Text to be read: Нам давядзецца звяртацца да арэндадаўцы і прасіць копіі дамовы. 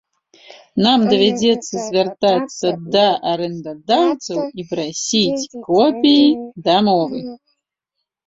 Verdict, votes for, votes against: rejected, 1, 2